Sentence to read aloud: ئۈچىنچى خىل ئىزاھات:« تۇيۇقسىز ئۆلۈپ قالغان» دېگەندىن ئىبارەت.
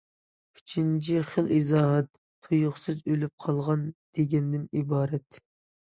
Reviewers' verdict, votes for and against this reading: accepted, 2, 0